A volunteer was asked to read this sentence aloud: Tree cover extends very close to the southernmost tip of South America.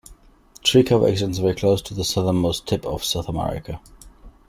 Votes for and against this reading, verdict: 2, 1, accepted